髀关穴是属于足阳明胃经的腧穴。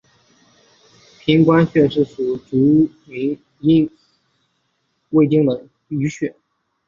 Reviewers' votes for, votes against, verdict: 0, 3, rejected